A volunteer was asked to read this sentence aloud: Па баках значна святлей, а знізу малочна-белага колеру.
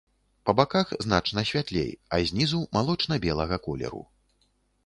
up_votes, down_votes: 2, 0